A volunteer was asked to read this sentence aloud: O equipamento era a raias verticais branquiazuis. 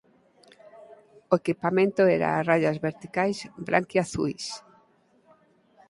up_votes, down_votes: 4, 0